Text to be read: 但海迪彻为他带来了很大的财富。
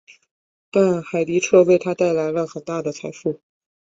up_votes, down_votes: 3, 0